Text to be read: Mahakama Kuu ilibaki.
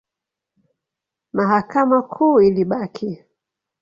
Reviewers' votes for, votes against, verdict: 2, 0, accepted